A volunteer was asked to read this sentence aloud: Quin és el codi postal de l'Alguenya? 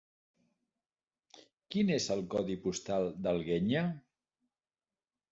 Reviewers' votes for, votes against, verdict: 1, 2, rejected